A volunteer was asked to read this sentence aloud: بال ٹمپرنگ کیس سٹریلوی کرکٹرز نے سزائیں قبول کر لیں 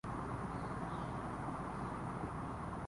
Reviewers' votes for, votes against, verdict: 0, 2, rejected